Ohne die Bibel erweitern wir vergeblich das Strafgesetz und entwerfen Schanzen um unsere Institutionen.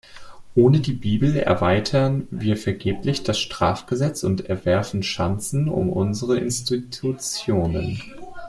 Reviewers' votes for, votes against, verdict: 2, 0, accepted